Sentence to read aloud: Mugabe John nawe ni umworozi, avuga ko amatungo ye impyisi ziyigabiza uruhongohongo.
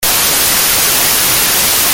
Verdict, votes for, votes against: rejected, 0, 2